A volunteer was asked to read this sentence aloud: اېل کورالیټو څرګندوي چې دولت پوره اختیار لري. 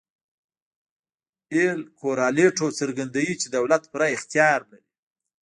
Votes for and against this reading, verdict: 2, 1, accepted